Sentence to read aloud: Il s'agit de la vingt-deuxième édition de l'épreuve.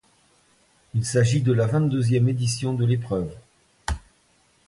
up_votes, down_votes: 2, 0